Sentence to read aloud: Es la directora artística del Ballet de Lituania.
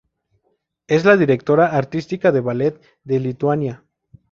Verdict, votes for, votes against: accepted, 4, 0